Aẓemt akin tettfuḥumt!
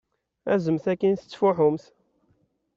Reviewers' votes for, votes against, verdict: 0, 2, rejected